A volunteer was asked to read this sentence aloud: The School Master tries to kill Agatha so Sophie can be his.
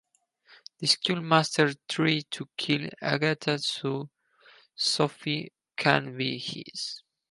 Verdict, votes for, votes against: rejected, 2, 4